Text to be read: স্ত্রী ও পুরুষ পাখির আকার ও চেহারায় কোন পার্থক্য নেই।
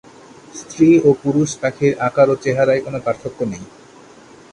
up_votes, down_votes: 2, 0